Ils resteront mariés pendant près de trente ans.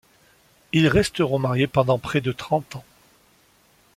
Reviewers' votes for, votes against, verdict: 2, 0, accepted